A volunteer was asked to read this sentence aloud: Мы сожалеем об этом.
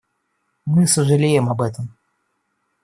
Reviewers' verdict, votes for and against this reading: accepted, 2, 0